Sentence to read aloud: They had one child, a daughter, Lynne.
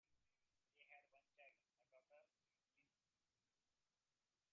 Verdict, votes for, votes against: rejected, 0, 2